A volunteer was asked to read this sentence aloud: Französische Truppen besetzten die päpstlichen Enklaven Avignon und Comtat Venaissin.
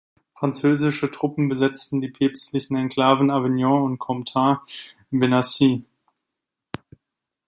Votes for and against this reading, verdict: 2, 1, accepted